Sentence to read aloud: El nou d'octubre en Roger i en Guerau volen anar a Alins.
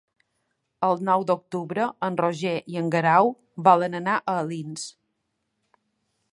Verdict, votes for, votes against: accepted, 3, 0